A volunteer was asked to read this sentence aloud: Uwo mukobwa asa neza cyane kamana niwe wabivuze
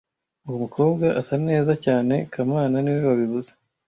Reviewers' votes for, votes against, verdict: 2, 0, accepted